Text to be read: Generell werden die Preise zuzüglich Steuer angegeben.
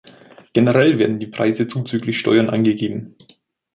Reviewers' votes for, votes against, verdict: 1, 2, rejected